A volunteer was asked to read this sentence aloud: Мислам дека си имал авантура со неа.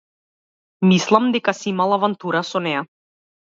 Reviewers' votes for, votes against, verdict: 2, 0, accepted